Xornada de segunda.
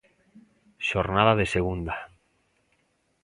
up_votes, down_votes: 2, 0